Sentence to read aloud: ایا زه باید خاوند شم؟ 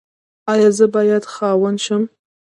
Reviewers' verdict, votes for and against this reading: rejected, 1, 2